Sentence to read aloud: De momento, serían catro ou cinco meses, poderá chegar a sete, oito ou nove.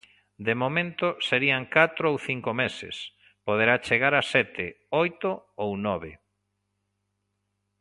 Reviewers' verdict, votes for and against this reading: accepted, 2, 0